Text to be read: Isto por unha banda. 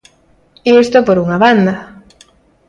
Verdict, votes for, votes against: accepted, 2, 0